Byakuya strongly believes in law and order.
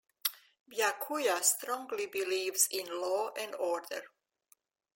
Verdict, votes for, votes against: accepted, 2, 0